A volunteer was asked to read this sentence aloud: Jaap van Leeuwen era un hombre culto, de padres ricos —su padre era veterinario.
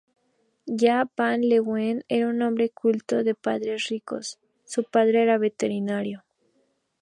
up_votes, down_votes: 2, 0